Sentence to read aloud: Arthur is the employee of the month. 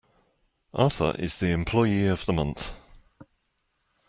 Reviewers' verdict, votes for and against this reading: accepted, 2, 0